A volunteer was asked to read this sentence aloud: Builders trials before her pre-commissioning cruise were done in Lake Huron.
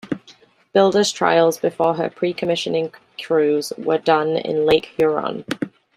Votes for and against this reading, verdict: 2, 1, accepted